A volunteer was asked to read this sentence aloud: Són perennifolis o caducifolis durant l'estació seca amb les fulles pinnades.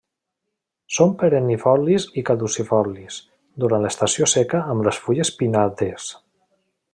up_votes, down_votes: 0, 2